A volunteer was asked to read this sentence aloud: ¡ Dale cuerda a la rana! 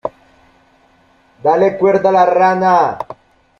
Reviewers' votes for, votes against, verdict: 2, 1, accepted